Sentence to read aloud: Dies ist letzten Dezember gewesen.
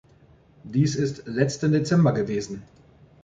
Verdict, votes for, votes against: rejected, 1, 2